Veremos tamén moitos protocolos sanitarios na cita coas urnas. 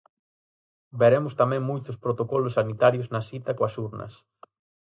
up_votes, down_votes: 4, 0